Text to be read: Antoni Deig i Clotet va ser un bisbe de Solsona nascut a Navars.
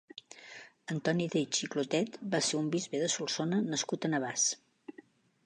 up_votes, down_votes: 1, 2